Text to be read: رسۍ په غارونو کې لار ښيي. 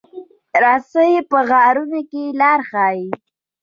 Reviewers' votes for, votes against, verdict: 1, 2, rejected